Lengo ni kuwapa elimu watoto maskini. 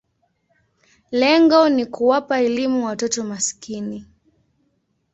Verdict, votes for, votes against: accepted, 2, 0